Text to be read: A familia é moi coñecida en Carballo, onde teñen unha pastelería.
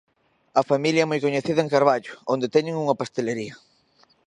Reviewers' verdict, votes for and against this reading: accepted, 2, 0